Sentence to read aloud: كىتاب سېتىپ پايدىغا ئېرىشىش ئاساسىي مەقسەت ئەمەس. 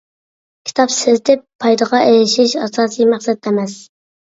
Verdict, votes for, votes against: accepted, 2, 0